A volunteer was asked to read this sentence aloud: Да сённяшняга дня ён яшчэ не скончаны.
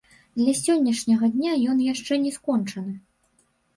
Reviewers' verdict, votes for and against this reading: rejected, 0, 2